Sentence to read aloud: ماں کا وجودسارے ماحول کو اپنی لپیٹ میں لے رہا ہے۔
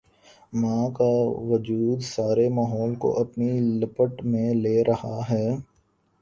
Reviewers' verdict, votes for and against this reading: rejected, 0, 3